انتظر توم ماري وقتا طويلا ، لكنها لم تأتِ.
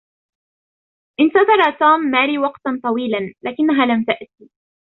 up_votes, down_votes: 0, 2